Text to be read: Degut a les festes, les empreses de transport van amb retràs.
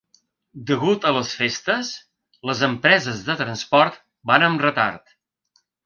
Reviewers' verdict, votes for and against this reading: rejected, 3, 4